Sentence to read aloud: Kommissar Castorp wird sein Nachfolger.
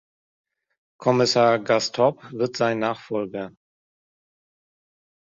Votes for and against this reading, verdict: 1, 2, rejected